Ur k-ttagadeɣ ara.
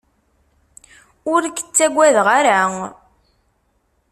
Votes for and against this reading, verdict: 2, 0, accepted